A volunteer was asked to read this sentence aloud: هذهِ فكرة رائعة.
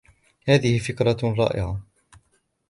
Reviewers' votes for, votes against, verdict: 2, 0, accepted